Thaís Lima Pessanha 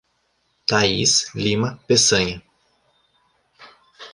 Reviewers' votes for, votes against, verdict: 2, 0, accepted